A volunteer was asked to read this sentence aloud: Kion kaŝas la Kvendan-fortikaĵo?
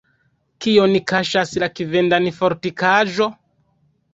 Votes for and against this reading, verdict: 2, 1, accepted